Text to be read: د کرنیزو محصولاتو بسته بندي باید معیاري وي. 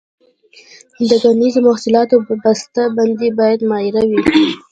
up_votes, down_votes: 2, 1